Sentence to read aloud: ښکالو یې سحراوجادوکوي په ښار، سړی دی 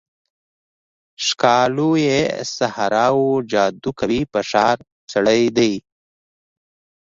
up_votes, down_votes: 0, 2